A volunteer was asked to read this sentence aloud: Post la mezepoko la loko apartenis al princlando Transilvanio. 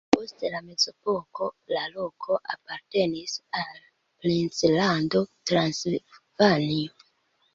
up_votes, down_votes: 1, 2